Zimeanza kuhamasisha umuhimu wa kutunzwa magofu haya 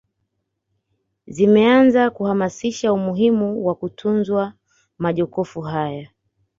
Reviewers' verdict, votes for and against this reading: accepted, 2, 0